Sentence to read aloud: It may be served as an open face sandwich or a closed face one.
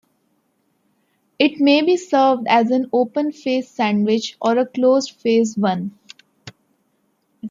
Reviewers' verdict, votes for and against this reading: accepted, 2, 0